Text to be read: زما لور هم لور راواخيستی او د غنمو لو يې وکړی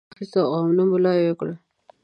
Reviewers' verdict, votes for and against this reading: rejected, 1, 2